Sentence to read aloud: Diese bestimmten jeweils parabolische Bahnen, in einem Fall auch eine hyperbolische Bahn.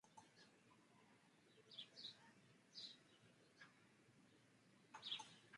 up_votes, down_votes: 0, 2